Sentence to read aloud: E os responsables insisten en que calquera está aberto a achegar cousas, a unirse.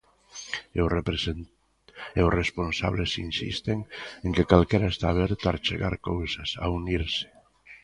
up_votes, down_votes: 0, 2